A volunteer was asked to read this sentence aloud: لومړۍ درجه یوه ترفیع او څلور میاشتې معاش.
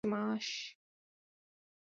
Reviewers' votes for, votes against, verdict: 1, 2, rejected